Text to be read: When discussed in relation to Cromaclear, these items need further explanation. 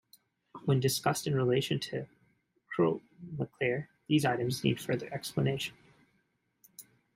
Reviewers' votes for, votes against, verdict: 2, 0, accepted